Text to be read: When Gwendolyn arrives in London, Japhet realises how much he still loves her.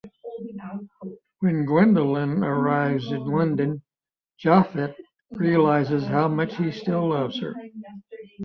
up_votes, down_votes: 1, 2